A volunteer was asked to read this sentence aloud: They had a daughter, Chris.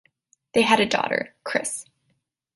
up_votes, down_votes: 2, 0